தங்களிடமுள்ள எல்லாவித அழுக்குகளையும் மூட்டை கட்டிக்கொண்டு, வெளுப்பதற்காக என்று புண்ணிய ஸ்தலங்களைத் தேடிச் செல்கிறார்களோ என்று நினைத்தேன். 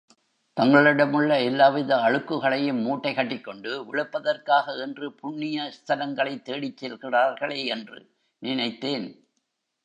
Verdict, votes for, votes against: rejected, 1, 2